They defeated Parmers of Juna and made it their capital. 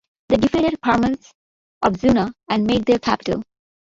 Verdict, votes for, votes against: rejected, 0, 2